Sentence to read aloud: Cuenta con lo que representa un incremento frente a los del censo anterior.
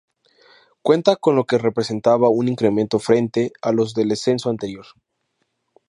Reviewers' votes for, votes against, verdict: 0, 2, rejected